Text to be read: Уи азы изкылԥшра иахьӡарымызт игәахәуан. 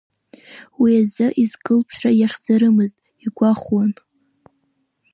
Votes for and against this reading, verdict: 1, 2, rejected